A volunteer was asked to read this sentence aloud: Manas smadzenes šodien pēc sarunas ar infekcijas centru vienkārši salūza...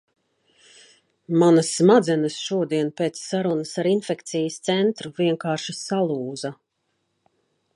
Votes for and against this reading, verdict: 2, 0, accepted